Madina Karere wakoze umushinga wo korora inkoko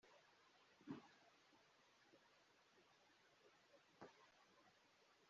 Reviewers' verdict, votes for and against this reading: rejected, 0, 2